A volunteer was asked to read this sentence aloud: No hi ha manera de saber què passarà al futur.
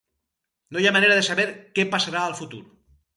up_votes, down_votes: 4, 0